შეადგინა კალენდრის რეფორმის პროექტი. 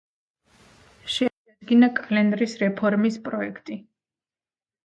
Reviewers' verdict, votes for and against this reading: rejected, 1, 2